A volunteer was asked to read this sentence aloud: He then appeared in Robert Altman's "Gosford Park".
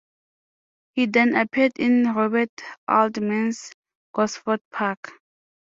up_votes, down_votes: 2, 0